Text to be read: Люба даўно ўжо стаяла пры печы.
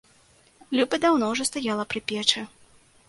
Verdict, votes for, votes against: accepted, 2, 0